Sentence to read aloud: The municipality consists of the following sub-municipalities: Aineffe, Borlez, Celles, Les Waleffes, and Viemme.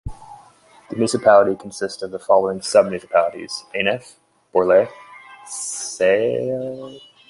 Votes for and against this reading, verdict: 0, 2, rejected